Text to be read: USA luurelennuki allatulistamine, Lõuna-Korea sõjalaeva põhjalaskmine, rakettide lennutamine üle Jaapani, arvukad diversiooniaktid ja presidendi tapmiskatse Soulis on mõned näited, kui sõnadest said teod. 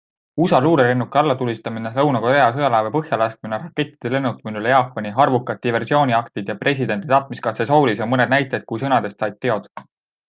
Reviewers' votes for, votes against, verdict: 2, 0, accepted